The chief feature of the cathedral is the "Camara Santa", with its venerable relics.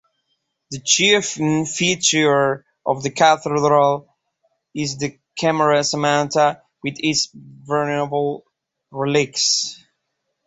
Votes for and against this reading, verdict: 0, 2, rejected